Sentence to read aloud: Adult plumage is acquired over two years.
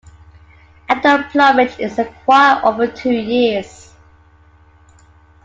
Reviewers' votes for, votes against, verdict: 2, 1, accepted